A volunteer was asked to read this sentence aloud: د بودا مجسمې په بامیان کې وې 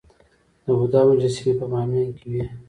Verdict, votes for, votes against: accepted, 2, 0